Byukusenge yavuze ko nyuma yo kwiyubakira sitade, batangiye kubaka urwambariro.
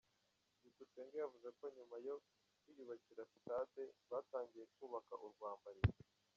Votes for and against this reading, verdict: 1, 2, rejected